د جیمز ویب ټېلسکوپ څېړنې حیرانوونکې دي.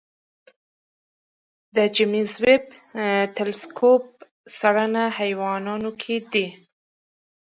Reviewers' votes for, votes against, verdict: 1, 2, rejected